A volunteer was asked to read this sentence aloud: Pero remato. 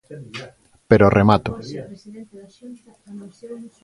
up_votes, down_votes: 4, 0